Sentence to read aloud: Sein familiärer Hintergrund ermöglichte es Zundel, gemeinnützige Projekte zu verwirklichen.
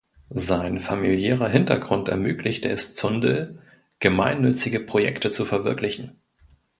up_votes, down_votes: 2, 0